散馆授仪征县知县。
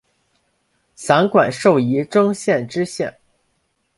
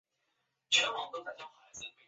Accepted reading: first